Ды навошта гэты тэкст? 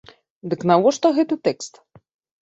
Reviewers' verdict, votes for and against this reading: rejected, 0, 2